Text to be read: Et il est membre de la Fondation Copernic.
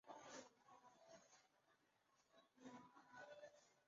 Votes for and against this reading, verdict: 0, 2, rejected